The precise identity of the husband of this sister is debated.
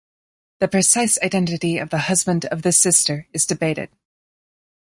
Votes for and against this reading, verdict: 3, 0, accepted